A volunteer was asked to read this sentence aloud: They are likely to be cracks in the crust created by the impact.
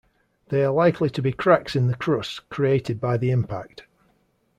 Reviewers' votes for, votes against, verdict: 2, 0, accepted